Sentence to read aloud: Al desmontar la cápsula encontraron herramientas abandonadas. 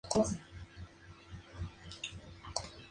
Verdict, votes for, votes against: rejected, 0, 2